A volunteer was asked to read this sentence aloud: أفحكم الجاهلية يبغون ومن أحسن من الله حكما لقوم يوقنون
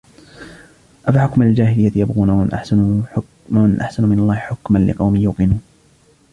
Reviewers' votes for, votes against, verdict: 1, 2, rejected